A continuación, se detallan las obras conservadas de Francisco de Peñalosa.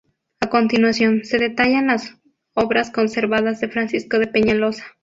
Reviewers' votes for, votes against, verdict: 2, 0, accepted